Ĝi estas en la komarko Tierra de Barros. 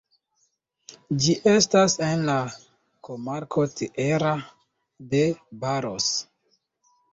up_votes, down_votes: 2, 0